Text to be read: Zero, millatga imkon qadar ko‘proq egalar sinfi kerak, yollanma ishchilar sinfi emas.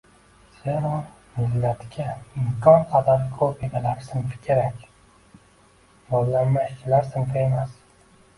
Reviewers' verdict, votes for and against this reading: rejected, 1, 2